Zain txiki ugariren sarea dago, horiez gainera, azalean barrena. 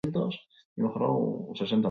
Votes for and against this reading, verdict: 0, 4, rejected